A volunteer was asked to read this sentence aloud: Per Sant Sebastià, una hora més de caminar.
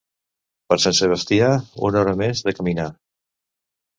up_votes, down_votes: 2, 0